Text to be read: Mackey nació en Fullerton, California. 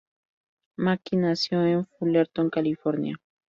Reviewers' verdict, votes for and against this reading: rejected, 0, 2